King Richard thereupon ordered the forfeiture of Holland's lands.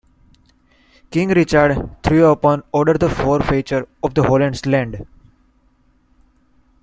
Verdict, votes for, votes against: rejected, 1, 2